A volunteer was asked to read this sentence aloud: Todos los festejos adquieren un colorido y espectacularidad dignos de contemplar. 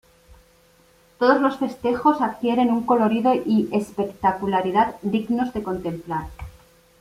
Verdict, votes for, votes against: accepted, 2, 0